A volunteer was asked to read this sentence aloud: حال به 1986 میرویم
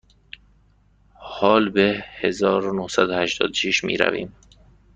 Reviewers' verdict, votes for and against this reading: rejected, 0, 2